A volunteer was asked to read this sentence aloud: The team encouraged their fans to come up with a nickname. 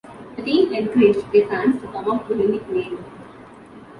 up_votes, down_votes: 2, 0